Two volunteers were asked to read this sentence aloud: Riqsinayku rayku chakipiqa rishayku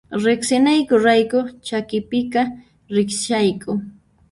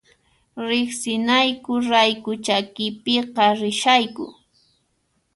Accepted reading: second